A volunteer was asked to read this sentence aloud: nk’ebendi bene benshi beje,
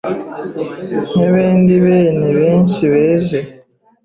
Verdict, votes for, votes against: rejected, 1, 2